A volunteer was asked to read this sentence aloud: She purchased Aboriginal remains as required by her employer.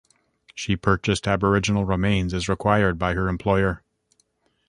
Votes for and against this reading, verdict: 2, 0, accepted